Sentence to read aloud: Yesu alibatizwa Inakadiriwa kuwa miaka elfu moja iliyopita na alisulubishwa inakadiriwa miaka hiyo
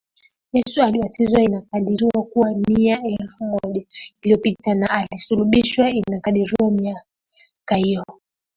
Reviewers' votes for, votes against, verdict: 0, 2, rejected